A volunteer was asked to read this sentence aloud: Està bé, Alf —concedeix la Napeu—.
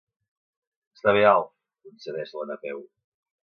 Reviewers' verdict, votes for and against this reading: rejected, 0, 2